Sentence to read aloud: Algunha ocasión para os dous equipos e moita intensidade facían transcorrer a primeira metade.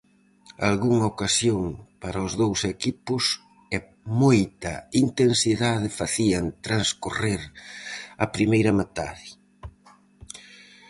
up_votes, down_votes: 4, 0